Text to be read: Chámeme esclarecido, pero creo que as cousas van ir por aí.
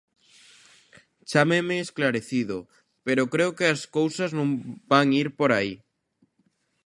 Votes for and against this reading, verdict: 0, 2, rejected